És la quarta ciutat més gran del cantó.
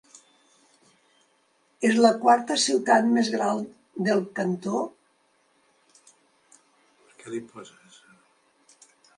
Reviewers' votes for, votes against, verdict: 1, 2, rejected